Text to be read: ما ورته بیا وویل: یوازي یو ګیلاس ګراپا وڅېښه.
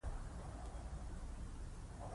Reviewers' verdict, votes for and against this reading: rejected, 2, 3